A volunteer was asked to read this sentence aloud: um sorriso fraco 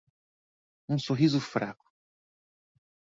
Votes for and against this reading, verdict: 2, 0, accepted